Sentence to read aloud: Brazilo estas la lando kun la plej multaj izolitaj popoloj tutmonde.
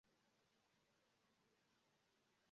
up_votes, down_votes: 0, 2